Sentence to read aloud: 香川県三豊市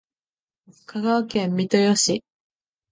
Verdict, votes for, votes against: accepted, 2, 0